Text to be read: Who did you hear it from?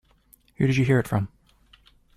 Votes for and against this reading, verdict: 1, 2, rejected